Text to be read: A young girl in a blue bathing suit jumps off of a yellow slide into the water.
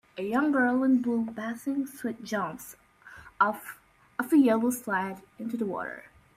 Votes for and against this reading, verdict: 1, 2, rejected